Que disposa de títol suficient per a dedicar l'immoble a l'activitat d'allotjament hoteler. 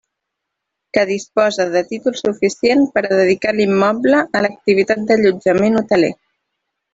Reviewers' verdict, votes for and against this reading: accepted, 2, 0